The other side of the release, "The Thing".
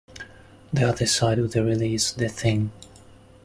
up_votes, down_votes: 2, 0